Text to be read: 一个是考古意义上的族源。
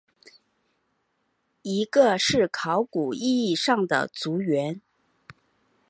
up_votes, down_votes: 5, 1